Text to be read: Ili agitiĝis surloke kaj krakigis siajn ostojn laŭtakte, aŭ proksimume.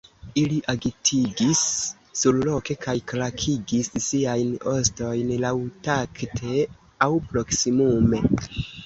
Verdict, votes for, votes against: rejected, 1, 2